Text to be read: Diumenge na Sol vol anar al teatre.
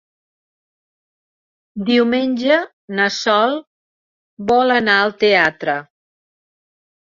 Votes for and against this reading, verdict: 5, 0, accepted